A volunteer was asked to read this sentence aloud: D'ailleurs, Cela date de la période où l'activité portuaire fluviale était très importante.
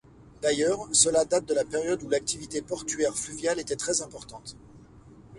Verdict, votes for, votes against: accepted, 2, 0